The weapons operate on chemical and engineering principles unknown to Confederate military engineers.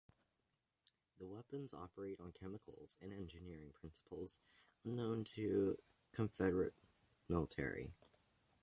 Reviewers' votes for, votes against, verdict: 0, 2, rejected